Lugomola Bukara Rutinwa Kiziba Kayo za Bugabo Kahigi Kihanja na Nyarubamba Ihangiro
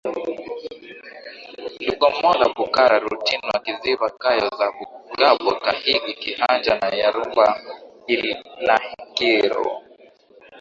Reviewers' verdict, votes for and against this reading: accepted, 2, 1